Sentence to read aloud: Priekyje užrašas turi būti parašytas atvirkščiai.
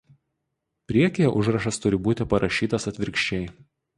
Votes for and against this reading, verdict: 0, 2, rejected